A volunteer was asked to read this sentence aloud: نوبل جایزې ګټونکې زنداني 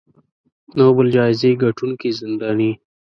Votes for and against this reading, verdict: 2, 0, accepted